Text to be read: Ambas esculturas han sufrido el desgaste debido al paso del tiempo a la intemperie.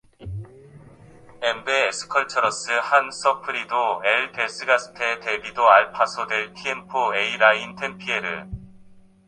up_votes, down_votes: 0, 2